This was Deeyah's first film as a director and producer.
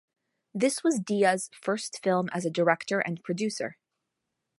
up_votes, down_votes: 2, 0